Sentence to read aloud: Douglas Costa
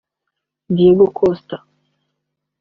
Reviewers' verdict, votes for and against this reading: rejected, 0, 2